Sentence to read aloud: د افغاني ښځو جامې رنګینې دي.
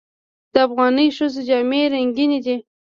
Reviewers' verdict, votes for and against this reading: rejected, 1, 2